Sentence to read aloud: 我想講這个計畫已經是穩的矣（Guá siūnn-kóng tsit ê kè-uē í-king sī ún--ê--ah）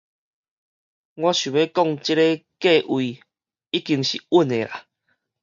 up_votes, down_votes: 2, 2